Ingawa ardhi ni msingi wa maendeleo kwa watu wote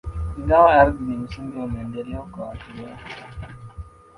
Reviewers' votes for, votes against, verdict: 0, 2, rejected